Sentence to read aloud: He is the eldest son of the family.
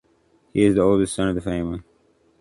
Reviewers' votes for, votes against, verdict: 0, 2, rejected